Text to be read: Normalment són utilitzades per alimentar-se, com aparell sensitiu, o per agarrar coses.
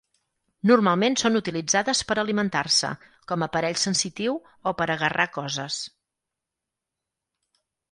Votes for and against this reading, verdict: 4, 0, accepted